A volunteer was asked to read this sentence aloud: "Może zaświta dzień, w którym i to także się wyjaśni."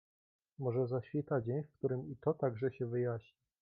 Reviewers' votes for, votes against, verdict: 2, 0, accepted